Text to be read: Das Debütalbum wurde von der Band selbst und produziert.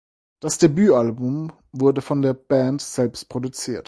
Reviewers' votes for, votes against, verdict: 0, 4, rejected